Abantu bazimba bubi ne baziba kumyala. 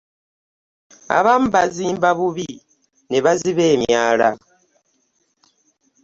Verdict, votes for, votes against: rejected, 0, 2